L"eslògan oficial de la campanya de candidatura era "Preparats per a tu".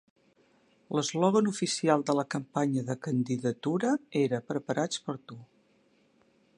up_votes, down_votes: 2, 1